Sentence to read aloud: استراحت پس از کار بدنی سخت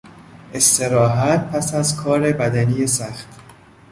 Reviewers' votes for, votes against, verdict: 2, 0, accepted